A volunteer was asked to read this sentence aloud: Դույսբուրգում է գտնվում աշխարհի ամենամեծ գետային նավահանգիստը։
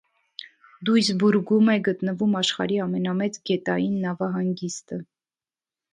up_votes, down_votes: 2, 0